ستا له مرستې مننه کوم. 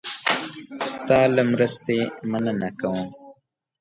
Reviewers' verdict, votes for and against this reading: rejected, 0, 2